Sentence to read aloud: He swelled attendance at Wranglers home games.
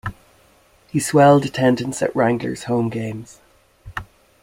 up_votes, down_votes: 2, 0